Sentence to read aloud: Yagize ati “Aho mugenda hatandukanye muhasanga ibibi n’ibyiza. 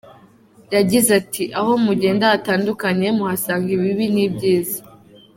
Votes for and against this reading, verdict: 2, 0, accepted